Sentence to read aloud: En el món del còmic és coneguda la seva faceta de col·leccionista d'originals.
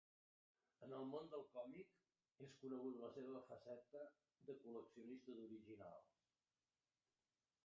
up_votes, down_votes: 0, 2